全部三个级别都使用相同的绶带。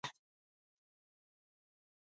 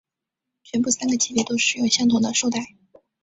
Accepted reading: second